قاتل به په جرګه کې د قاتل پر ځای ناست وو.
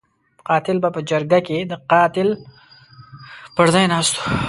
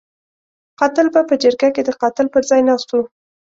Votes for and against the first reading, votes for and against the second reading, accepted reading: 0, 2, 2, 0, second